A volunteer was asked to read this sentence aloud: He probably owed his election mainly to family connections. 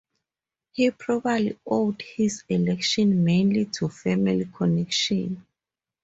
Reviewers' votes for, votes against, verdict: 0, 4, rejected